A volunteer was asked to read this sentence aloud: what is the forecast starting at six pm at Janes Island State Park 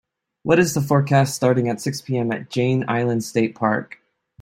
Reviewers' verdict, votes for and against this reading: accepted, 2, 0